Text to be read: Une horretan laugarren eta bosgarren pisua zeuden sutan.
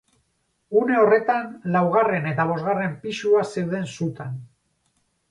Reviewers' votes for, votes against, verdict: 4, 0, accepted